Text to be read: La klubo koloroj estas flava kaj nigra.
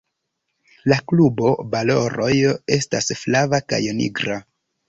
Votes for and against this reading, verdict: 0, 2, rejected